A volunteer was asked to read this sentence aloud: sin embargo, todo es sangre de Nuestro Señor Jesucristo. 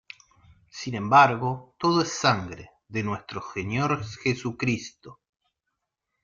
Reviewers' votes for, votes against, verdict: 1, 2, rejected